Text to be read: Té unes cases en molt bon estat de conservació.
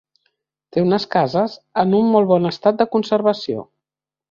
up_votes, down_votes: 1, 2